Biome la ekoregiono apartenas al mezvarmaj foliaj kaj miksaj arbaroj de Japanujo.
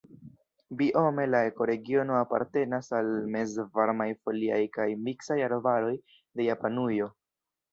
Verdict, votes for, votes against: rejected, 0, 2